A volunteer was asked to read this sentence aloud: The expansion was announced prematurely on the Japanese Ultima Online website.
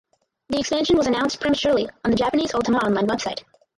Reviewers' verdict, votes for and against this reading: accepted, 4, 0